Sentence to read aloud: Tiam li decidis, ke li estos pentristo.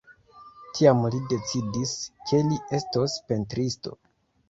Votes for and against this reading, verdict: 2, 1, accepted